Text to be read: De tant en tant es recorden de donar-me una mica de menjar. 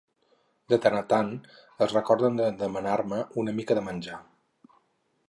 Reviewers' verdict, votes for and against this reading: rejected, 0, 4